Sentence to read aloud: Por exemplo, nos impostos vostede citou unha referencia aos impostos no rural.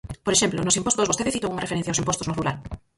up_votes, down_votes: 0, 4